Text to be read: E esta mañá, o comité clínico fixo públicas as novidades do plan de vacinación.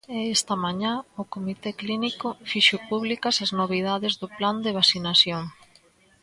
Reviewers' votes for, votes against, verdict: 1, 2, rejected